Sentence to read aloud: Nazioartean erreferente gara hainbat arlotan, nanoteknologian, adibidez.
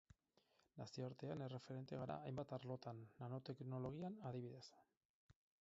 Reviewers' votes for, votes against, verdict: 2, 4, rejected